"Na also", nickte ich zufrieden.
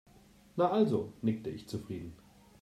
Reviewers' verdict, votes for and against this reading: accepted, 2, 0